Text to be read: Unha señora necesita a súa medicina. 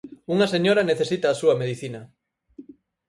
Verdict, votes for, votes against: accepted, 4, 0